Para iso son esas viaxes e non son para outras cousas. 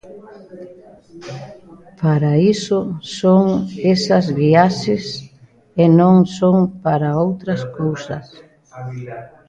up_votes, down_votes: 0, 2